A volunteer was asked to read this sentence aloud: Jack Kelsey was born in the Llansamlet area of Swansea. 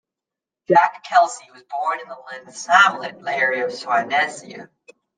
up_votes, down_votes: 0, 2